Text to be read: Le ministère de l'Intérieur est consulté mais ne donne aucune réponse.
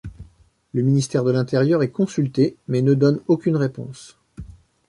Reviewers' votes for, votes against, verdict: 2, 0, accepted